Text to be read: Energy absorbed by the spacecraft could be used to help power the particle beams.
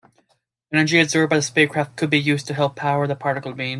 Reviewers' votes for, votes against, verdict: 0, 2, rejected